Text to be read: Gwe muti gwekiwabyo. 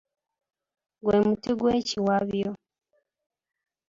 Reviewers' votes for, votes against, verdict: 2, 0, accepted